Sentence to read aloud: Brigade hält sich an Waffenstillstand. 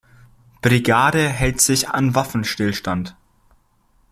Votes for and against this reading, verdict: 2, 0, accepted